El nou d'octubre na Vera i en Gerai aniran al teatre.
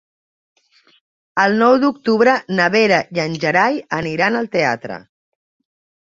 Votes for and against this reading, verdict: 2, 0, accepted